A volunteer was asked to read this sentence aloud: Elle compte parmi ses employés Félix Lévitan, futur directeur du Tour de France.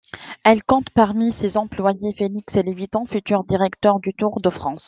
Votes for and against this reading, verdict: 2, 0, accepted